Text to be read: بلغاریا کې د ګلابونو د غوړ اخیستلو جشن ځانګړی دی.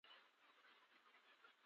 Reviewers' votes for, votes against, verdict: 0, 2, rejected